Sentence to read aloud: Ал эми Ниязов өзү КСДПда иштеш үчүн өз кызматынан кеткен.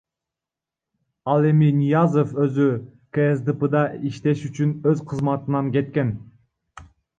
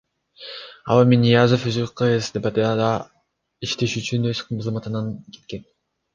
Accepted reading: second